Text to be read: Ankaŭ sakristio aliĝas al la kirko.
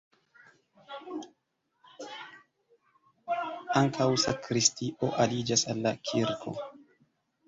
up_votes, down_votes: 2, 3